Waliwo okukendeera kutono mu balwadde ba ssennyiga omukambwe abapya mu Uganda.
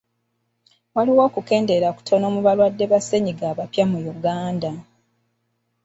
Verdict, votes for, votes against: rejected, 1, 2